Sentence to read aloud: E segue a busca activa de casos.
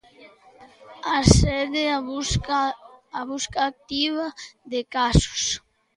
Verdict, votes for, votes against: rejected, 0, 2